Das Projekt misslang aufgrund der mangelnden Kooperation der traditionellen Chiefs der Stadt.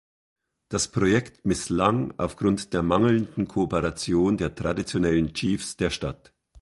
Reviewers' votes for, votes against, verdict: 2, 0, accepted